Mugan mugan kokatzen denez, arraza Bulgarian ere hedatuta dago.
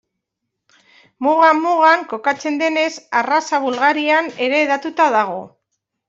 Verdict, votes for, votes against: rejected, 1, 2